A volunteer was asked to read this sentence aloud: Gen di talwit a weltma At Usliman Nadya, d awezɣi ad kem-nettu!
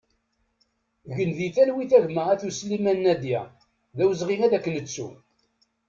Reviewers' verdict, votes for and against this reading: rejected, 0, 2